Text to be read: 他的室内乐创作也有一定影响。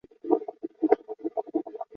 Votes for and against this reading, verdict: 0, 4, rejected